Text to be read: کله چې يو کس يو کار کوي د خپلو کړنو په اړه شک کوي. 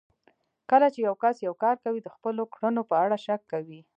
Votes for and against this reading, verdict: 2, 0, accepted